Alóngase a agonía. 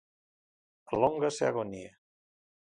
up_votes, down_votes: 2, 0